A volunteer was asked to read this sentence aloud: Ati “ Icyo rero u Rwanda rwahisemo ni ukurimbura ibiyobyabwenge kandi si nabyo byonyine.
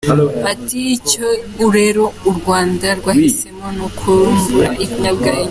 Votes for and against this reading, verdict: 0, 2, rejected